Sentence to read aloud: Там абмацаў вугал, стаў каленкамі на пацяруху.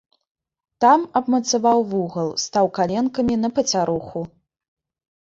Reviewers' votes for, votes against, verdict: 0, 2, rejected